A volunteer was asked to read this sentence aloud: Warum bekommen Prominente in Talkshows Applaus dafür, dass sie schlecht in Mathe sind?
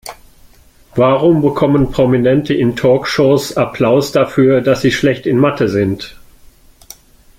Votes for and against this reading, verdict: 2, 0, accepted